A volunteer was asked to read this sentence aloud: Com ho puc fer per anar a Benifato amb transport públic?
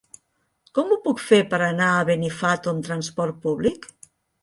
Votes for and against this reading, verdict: 2, 0, accepted